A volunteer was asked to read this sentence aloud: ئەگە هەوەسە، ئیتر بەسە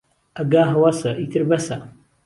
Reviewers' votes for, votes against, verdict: 2, 0, accepted